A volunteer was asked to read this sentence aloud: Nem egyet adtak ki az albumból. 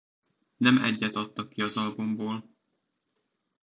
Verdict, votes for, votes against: accepted, 2, 0